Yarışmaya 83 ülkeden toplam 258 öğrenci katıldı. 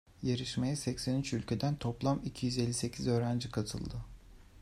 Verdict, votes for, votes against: rejected, 0, 2